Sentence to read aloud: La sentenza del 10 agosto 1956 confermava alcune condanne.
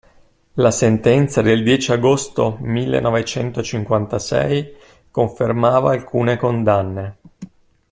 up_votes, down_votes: 0, 2